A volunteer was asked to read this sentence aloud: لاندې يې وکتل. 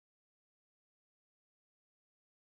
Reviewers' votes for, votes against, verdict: 1, 2, rejected